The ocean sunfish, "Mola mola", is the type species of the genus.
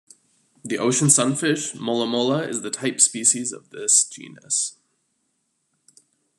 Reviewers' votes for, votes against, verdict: 0, 2, rejected